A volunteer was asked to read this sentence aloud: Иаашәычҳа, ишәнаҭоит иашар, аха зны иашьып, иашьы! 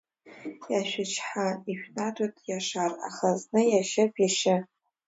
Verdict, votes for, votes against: accepted, 2, 0